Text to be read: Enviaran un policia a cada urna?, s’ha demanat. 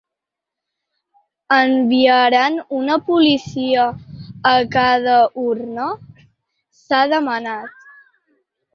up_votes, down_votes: 0, 2